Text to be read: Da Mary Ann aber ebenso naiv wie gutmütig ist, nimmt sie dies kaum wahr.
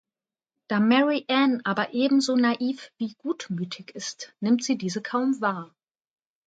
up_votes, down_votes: 0, 2